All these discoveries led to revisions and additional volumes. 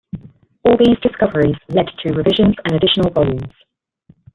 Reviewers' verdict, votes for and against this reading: rejected, 1, 2